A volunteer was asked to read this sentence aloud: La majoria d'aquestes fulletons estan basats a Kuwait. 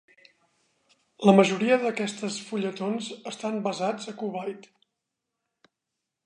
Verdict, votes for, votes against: accepted, 2, 0